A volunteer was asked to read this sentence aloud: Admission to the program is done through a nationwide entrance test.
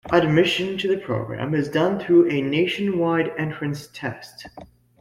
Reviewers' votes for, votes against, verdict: 2, 0, accepted